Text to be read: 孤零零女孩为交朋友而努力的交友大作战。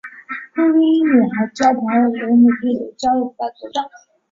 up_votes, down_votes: 1, 3